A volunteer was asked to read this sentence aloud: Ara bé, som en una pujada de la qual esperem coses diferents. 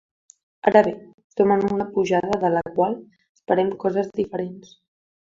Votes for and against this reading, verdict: 1, 3, rejected